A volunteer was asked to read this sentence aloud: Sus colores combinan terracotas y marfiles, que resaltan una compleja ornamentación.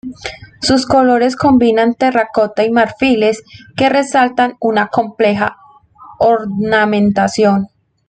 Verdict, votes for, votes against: accepted, 2, 1